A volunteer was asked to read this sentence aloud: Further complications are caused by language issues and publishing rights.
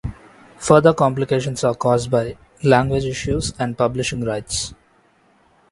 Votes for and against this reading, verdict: 2, 0, accepted